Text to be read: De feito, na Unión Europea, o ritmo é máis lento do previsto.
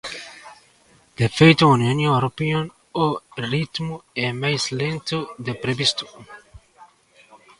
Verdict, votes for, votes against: rejected, 0, 2